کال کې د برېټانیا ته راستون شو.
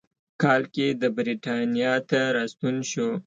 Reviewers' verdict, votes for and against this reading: accepted, 2, 0